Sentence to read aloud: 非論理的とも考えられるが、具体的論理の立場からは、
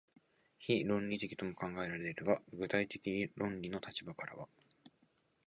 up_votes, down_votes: 5, 0